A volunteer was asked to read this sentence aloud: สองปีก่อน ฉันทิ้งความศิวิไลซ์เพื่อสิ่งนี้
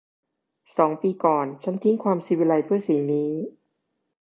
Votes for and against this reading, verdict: 2, 0, accepted